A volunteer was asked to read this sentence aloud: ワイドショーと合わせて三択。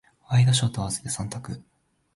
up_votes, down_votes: 2, 0